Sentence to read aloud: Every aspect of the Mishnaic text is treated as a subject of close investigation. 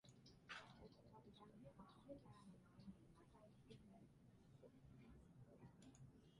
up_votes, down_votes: 0, 2